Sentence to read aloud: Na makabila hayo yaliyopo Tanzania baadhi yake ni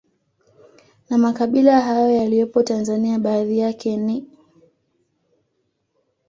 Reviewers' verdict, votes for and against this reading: rejected, 0, 2